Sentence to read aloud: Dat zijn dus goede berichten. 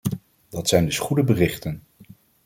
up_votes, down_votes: 2, 0